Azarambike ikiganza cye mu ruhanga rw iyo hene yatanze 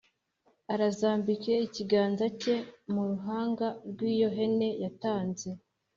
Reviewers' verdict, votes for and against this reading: accepted, 2, 1